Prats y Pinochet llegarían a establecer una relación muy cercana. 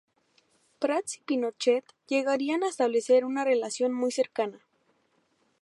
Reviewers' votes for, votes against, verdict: 0, 2, rejected